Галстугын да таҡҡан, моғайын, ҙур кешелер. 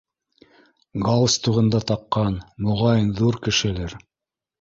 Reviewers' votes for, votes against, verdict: 2, 0, accepted